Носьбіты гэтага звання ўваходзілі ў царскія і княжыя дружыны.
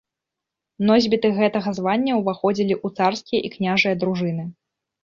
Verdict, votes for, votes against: accepted, 2, 0